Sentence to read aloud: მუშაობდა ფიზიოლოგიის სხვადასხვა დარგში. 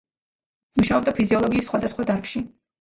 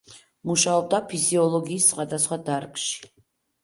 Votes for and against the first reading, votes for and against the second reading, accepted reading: 1, 2, 2, 0, second